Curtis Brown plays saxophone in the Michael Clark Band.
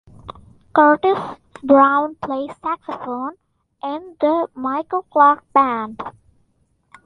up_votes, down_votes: 2, 0